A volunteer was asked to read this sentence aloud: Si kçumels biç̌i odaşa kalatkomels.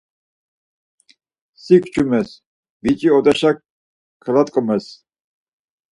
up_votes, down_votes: 2, 4